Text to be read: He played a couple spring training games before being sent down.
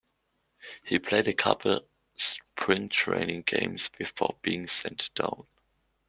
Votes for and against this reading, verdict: 2, 0, accepted